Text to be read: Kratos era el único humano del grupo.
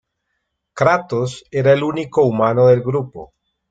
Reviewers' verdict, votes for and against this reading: accepted, 2, 0